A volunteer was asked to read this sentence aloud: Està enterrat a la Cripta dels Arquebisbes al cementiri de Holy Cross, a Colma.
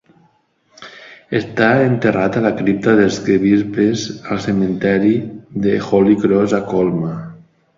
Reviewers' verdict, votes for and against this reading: rejected, 1, 2